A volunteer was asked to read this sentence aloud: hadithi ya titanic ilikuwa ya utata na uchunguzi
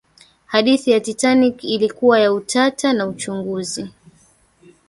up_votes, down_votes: 1, 2